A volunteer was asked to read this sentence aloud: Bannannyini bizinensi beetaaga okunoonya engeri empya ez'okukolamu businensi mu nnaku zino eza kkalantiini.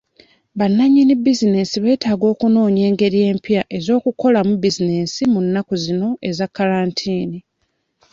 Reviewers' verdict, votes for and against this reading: accepted, 2, 0